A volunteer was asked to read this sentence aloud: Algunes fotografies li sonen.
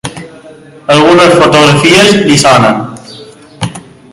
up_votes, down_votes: 2, 0